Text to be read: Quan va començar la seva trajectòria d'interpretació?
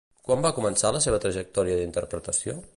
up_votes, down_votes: 2, 0